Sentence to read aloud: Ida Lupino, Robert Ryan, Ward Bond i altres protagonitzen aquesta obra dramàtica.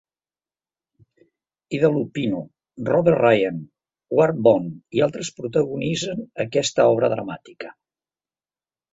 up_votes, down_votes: 2, 0